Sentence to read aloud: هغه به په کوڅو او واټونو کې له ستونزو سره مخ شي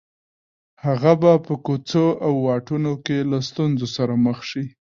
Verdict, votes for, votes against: accepted, 2, 1